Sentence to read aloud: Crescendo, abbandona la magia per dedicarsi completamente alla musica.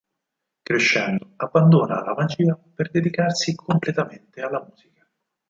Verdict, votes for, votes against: rejected, 0, 4